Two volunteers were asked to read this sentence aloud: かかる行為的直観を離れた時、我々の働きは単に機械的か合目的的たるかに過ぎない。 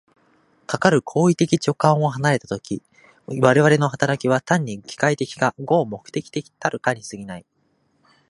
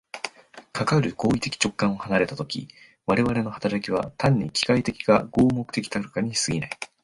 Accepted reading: second